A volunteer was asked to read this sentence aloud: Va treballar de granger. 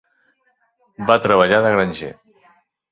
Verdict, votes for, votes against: accepted, 2, 0